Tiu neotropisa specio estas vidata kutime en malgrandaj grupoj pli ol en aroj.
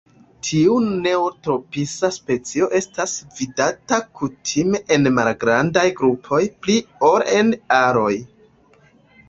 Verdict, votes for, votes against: rejected, 1, 2